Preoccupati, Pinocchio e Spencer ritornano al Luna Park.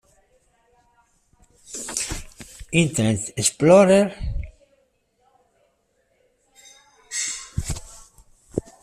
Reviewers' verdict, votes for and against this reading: rejected, 0, 2